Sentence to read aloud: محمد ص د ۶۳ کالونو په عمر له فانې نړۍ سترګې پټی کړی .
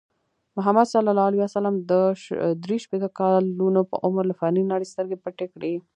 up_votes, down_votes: 0, 2